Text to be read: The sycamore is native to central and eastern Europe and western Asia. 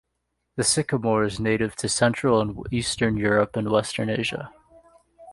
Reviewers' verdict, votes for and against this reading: accepted, 2, 0